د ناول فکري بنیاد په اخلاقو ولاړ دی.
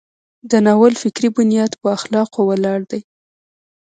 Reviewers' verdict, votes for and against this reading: rejected, 1, 2